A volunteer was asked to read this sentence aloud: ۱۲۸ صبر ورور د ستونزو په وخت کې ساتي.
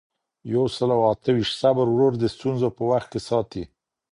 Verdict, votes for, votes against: rejected, 0, 2